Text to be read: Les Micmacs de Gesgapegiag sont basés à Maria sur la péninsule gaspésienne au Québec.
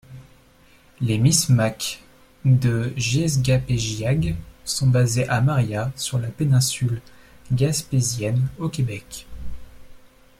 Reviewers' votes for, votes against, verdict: 0, 2, rejected